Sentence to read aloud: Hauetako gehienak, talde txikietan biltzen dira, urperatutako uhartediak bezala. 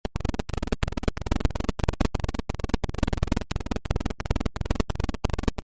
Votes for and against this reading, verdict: 0, 2, rejected